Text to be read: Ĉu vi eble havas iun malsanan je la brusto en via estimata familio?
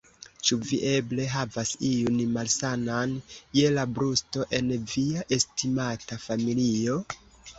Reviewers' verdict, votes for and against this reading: rejected, 1, 2